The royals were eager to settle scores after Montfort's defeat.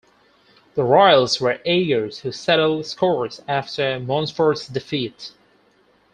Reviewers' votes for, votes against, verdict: 4, 2, accepted